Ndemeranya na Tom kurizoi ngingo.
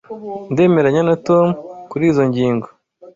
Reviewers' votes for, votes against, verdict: 2, 0, accepted